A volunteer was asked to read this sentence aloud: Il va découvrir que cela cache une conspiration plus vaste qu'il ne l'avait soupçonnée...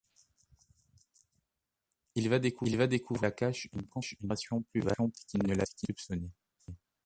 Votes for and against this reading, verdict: 0, 2, rejected